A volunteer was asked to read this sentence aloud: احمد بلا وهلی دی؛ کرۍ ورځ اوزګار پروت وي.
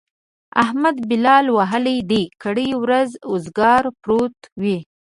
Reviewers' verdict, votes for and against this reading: accepted, 2, 0